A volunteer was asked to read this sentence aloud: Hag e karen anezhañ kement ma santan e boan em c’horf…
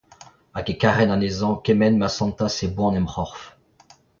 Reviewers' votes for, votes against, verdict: 0, 2, rejected